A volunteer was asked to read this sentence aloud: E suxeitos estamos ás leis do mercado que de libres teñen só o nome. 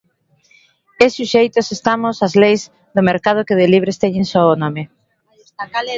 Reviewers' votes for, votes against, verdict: 1, 2, rejected